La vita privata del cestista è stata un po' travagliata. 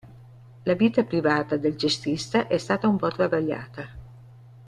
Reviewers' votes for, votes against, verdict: 3, 0, accepted